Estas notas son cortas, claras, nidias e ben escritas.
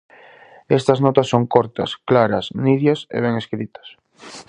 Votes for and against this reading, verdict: 2, 0, accepted